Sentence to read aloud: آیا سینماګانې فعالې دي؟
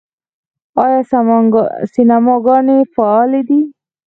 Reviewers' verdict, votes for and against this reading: rejected, 2, 4